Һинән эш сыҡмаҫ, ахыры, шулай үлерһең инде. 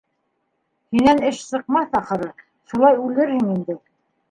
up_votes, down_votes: 2, 1